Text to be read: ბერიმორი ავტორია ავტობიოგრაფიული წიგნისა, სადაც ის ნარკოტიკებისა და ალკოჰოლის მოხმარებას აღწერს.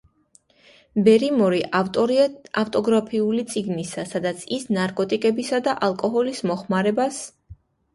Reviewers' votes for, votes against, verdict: 1, 2, rejected